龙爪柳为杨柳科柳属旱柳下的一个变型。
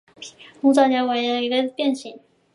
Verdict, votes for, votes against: rejected, 0, 2